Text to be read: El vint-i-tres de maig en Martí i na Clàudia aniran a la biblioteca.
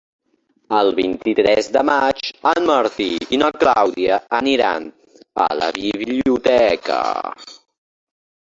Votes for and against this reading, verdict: 2, 1, accepted